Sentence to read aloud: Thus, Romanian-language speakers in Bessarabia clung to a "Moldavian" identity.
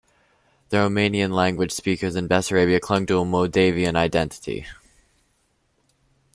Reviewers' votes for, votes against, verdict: 0, 2, rejected